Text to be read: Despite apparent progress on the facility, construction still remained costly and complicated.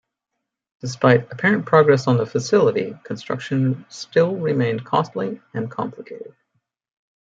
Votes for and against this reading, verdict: 2, 0, accepted